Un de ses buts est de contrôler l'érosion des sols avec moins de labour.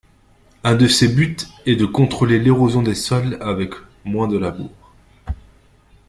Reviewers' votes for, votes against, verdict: 2, 0, accepted